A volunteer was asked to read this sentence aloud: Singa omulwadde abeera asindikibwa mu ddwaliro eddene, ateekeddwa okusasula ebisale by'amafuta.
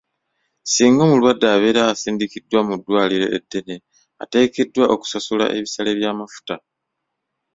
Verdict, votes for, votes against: rejected, 1, 2